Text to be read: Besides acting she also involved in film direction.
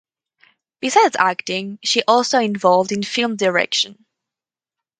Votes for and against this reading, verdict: 2, 0, accepted